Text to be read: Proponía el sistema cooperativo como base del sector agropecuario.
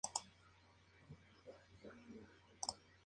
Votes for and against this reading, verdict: 0, 2, rejected